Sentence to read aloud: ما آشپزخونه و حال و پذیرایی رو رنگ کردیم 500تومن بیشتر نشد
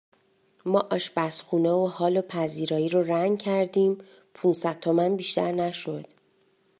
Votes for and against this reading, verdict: 0, 2, rejected